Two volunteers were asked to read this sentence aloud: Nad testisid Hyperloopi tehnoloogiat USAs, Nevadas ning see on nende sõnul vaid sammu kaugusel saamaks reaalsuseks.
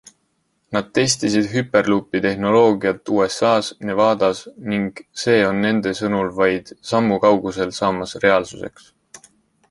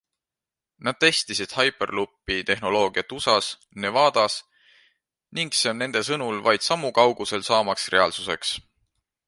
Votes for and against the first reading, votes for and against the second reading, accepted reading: 0, 2, 2, 1, second